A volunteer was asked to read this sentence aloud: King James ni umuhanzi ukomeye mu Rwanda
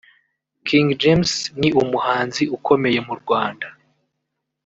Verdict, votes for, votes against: accepted, 2, 0